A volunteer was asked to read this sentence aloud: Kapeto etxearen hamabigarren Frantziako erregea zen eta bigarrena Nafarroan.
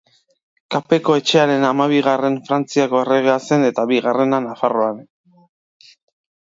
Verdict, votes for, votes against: rejected, 1, 2